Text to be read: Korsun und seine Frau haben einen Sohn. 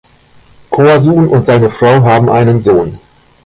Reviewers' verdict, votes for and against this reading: accepted, 2, 0